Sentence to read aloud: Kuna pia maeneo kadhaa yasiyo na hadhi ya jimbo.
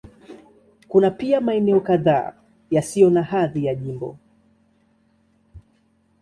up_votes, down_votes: 2, 0